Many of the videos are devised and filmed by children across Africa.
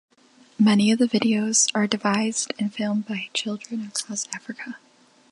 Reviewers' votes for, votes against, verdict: 2, 0, accepted